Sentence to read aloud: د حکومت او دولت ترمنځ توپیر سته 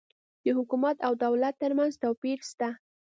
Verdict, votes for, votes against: accepted, 2, 0